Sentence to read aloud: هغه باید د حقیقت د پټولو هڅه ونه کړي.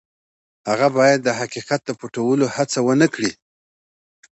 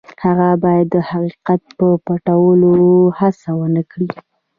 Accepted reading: first